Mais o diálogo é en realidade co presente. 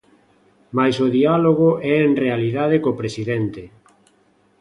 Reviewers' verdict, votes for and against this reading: rejected, 0, 2